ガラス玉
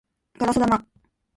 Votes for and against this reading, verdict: 1, 3, rejected